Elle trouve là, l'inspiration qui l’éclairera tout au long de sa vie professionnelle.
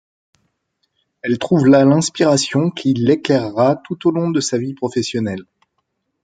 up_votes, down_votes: 2, 0